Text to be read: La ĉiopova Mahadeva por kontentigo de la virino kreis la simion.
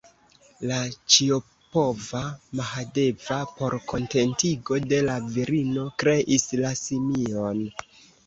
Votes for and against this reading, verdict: 0, 2, rejected